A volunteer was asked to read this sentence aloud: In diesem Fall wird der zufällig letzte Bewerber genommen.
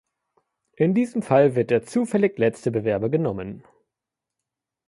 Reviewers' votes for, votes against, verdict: 2, 0, accepted